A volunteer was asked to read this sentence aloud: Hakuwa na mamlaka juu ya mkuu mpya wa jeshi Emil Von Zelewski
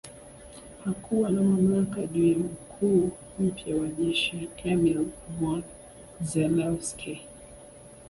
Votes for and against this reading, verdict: 1, 2, rejected